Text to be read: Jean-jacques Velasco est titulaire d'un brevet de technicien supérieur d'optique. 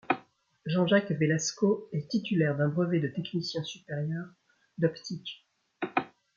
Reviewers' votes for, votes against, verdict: 2, 0, accepted